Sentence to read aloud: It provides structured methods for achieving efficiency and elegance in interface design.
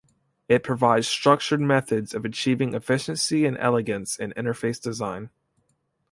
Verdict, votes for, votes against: rejected, 0, 3